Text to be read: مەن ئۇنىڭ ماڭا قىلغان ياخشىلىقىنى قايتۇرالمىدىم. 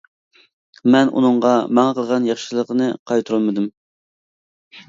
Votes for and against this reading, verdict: 0, 2, rejected